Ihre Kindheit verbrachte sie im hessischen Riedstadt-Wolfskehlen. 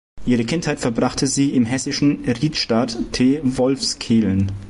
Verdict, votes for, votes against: rejected, 0, 2